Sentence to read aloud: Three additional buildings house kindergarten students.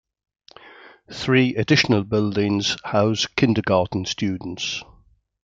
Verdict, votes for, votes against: accepted, 2, 0